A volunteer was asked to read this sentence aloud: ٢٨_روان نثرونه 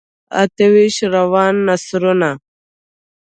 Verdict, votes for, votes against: rejected, 0, 2